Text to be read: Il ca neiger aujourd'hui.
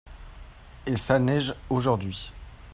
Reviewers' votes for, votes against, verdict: 0, 2, rejected